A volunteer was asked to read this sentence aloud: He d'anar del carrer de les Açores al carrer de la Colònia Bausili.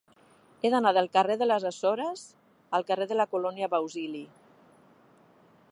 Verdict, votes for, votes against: accepted, 3, 1